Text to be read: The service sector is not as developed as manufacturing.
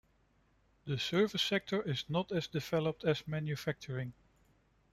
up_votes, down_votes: 1, 2